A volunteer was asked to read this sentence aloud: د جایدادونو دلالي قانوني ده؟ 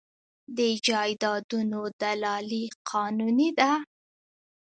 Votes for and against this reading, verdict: 0, 2, rejected